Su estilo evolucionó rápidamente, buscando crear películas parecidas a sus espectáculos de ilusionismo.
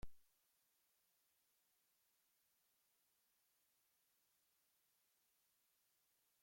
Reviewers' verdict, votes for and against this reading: rejected, 0, 2